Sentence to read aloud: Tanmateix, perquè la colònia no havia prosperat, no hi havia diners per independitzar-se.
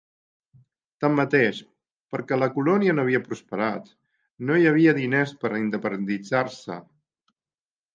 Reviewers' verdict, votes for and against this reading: rejected, 1, 2